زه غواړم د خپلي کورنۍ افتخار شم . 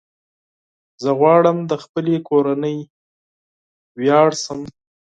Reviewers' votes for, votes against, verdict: 0, 4, rejected